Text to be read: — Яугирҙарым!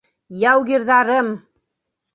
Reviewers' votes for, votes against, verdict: 2, 0, accepted